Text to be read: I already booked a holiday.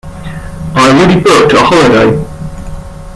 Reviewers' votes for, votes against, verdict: 0, 2, rejected